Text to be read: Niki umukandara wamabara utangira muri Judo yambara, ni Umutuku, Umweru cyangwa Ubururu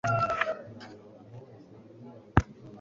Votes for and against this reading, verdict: 0, 2, rejected